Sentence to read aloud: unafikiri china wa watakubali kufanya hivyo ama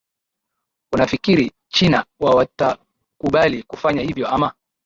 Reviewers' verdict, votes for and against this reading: accepted, 8, 0